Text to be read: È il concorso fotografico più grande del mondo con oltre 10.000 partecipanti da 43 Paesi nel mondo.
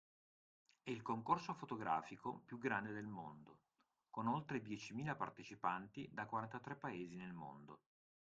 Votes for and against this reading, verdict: 0, 2, rejected